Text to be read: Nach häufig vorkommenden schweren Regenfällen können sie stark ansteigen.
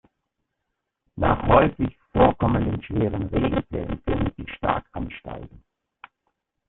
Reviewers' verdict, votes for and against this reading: rejected, 0, 2